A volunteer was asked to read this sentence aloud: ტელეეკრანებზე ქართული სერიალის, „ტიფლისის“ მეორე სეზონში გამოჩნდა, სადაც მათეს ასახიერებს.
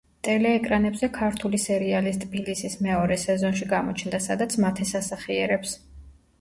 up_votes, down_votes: 0, 2